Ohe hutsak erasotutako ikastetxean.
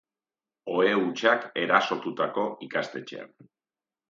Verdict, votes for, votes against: accepted, 2, 0